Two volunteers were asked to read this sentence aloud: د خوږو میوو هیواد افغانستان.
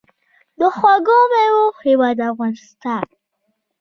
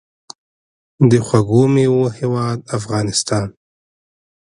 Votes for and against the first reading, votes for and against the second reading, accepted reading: 2, 0, 0, 2, first